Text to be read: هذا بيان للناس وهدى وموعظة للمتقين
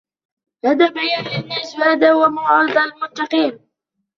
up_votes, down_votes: 2, 0